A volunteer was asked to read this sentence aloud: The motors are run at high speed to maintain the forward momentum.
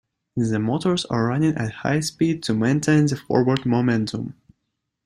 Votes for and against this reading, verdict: 0, 2, rejected